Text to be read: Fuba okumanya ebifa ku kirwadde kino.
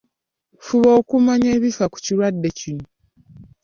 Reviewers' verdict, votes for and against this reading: accepted, 2, 0